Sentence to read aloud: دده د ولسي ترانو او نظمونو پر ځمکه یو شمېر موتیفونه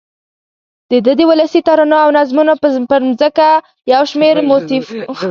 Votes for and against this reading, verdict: 0, 2, rejected